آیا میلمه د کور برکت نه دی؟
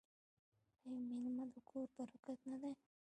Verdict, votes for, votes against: rejected, 1, 2